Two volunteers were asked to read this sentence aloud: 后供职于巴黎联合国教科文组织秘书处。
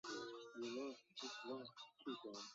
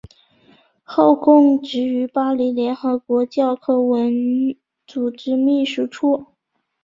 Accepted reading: second